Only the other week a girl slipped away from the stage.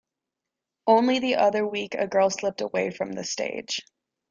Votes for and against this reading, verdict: 2, 0, accepted